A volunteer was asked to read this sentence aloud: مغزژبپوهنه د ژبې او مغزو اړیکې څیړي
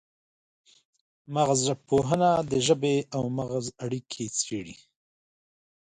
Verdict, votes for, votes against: accepted, 3, 2